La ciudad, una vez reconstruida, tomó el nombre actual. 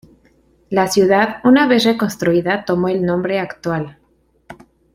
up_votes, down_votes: 2, 1